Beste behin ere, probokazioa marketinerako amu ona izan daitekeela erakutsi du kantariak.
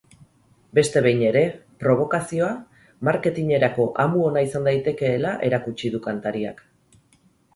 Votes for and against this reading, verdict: 4, 0, accepted